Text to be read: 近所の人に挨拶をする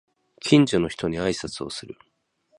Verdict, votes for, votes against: accepted, 2, 0